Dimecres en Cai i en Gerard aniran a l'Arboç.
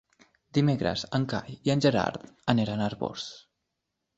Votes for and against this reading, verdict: 0, 2, rejected